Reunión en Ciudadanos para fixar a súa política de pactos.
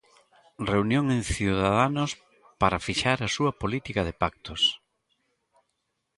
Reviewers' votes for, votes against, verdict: 2, 0, accepted